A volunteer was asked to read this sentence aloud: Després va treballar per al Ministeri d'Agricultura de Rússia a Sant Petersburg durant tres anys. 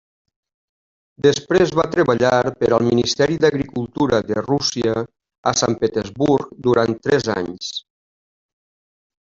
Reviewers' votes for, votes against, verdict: 3, 0, accepted